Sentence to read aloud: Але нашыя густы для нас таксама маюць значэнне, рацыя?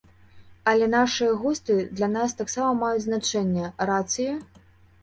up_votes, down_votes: 2, 0